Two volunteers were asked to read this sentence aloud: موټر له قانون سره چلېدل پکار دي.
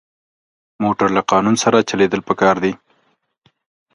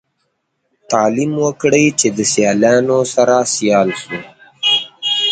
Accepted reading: first